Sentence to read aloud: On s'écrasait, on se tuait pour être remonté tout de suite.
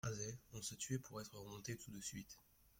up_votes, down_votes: 0, 2